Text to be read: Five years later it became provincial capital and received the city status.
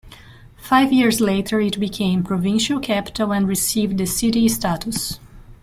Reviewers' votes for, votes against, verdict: 2, 0, accepted